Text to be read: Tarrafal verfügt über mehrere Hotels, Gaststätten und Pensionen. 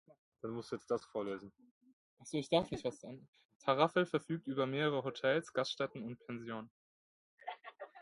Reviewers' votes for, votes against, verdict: 0, 2, rejected